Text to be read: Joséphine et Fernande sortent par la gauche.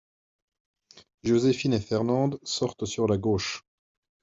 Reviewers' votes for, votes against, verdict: 1, 2, rejected